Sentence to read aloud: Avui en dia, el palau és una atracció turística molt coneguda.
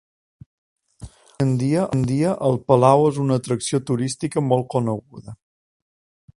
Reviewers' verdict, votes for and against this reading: rejected, 0, 2